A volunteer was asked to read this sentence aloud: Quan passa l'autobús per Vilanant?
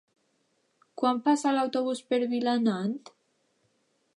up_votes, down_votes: 3, 0